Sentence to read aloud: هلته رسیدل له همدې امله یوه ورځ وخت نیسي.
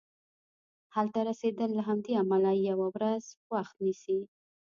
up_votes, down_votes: 2, 0